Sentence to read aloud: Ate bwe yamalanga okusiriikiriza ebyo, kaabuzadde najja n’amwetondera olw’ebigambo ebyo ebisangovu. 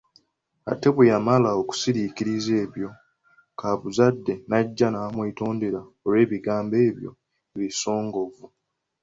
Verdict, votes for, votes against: accepted, 2, 0